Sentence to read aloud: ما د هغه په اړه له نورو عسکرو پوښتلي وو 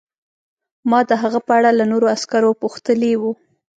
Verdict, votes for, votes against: accepted, 2, 0